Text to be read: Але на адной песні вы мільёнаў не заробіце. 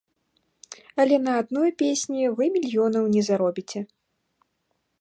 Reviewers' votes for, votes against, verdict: 3, 0, accepted